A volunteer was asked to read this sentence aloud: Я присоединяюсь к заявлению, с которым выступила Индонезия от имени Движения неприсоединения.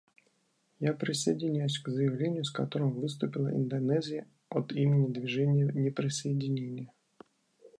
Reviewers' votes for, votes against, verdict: 2, 0, accepted